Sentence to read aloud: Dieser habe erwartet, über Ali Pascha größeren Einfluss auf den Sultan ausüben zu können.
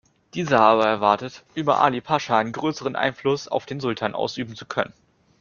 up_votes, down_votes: 2, 0